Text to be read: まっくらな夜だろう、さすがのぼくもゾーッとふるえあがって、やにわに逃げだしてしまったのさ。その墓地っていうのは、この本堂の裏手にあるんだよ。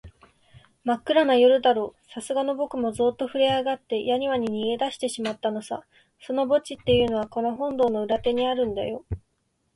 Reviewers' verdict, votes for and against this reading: accepted, 10, 1